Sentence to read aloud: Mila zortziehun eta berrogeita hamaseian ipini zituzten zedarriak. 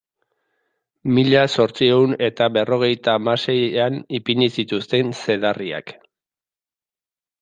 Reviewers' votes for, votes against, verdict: 2, 0, accepted